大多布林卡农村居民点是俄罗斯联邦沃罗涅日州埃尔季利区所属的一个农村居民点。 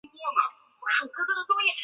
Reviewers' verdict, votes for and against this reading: rejected, 2, 3